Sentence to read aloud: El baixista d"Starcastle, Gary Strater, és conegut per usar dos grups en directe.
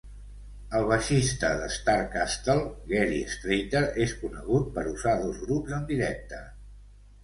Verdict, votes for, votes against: accepted, 2, 0